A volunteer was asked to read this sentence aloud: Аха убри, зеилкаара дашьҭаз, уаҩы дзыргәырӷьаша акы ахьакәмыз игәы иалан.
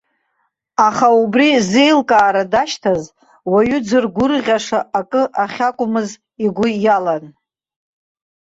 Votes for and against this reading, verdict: 2, 1, accepted